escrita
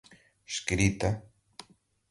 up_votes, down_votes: 2, 0